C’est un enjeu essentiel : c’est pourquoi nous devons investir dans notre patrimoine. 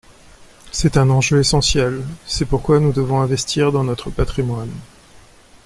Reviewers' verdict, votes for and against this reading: accepted, 2, 0